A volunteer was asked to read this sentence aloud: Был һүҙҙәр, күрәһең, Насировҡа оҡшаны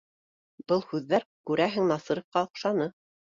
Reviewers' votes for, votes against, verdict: 2, 1, accepted